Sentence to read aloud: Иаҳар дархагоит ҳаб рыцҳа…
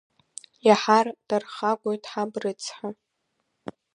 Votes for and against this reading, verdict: 2, 0, accepted